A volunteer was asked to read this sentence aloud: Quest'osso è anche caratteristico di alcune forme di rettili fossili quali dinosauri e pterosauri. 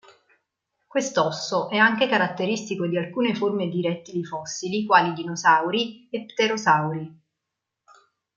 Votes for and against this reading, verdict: 2, 1, accepted